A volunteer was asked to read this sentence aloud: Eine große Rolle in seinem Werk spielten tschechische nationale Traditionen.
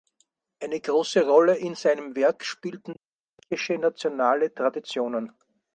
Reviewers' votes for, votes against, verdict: 0, 4, rejected